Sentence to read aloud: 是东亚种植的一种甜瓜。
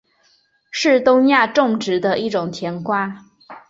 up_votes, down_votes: 5, 0